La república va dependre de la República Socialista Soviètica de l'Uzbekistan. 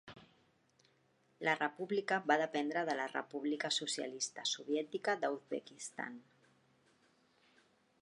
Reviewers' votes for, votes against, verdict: 1, 2, rejected